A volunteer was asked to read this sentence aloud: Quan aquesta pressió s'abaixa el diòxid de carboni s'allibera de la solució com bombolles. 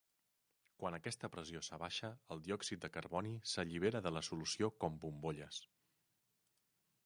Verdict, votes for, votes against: accepted, 3, 0